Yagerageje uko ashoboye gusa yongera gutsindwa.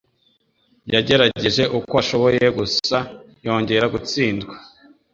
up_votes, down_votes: 2, 0